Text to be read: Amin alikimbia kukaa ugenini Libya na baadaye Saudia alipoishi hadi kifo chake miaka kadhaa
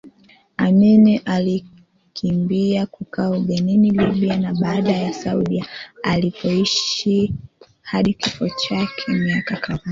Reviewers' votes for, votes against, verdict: 1, 3, rejected